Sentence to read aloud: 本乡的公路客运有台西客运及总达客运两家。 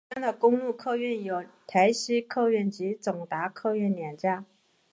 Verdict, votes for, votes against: accepted, 5, 1